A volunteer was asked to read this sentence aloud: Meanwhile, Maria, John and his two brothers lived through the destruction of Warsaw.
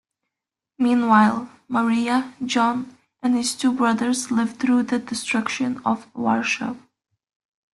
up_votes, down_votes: 1, 2